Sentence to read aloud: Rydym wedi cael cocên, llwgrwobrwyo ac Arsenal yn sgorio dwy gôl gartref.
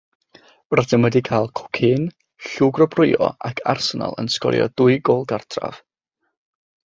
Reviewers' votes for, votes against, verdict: 6, 0, accepted